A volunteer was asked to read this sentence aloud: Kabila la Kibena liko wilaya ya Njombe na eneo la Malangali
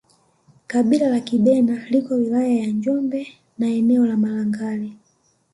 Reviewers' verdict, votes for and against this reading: accepted, 2, 0